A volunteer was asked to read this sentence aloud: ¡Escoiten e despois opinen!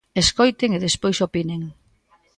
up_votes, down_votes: 2, 0